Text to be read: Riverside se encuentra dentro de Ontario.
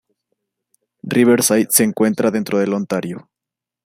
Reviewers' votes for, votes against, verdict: 1, 2, rejected